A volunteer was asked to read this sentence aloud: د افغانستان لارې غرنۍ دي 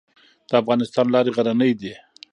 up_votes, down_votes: 1, 2